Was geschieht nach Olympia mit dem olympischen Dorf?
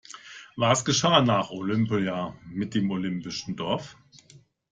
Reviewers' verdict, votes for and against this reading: rejected, 1, 2